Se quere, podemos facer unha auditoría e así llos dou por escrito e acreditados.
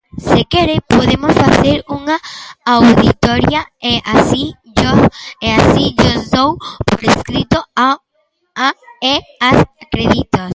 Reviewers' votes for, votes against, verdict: 0, 2, rejected